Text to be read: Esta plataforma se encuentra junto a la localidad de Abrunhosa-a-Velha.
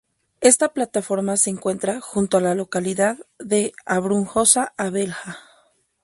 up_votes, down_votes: 2, 0